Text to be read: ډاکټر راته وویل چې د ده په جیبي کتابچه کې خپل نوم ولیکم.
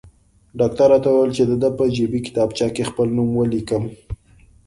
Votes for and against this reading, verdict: 2, 0, accepted